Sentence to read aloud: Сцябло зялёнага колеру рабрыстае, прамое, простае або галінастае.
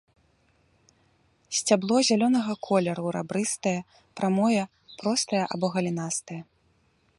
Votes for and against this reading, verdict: 2, 0, accepted